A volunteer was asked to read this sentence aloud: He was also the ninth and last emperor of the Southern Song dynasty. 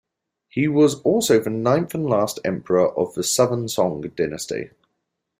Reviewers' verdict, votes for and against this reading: accepted, 2, 0